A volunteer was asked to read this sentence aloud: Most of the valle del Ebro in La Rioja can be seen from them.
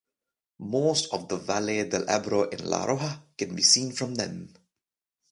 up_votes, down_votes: 2, 0